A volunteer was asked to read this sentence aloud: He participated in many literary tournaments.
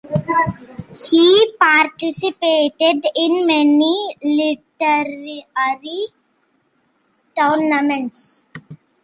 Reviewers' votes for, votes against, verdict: 0, 2, rejected